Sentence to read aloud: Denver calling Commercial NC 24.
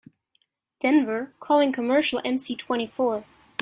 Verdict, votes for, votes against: rejected, 0, 2